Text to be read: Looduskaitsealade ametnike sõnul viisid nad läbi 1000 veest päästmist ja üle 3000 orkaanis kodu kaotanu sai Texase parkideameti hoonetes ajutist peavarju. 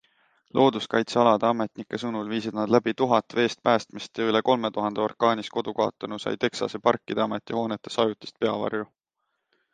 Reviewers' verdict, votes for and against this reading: rejected, 0, 2